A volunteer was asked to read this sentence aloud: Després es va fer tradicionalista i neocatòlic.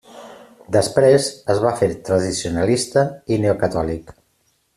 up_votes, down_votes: 3, 0